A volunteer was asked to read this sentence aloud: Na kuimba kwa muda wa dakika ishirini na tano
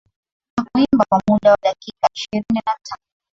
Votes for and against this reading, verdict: 19, 7, accepted